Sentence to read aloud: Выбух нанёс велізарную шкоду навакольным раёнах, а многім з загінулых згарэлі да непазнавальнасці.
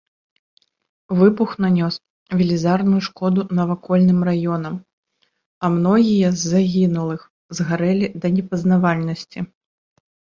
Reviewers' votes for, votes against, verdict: 0, 2, rejected